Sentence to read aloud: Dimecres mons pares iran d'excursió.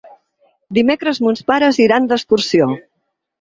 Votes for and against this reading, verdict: 6, 0, accepted